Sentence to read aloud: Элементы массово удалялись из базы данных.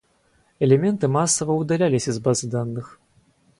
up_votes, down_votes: 2, 2